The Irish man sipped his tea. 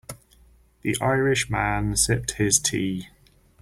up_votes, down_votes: 4, 0